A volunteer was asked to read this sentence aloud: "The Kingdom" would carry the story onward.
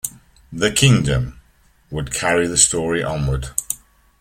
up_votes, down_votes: 2, 0